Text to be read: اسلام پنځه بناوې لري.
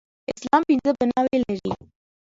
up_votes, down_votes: 1, 2